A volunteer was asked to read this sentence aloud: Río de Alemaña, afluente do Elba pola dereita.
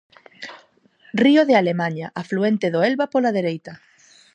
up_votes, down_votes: 4, 0